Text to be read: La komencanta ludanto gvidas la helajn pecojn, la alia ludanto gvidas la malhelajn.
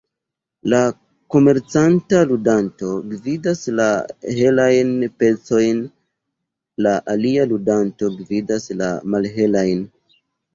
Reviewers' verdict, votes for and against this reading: accepted, 2, 0